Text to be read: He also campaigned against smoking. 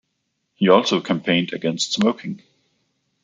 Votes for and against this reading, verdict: 2, 0, accepted